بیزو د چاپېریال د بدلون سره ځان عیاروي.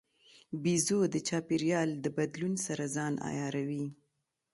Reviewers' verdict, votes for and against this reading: rejected, 1, 2